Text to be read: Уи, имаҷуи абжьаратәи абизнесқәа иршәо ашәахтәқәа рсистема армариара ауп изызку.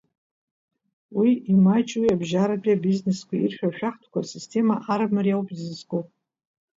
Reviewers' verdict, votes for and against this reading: rejected, 1, 2